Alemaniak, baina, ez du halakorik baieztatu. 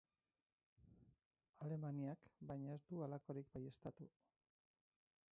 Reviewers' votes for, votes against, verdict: 2, 4, rejected